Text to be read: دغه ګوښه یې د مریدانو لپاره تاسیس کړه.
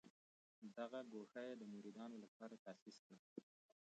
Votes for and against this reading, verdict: 1, 2, rejected